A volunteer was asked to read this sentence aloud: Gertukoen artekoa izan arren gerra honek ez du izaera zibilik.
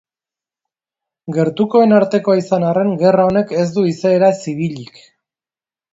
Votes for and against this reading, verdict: 2, 0, accepted